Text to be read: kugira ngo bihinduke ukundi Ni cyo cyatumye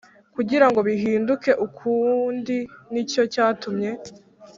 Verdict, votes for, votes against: accepted, 2, 0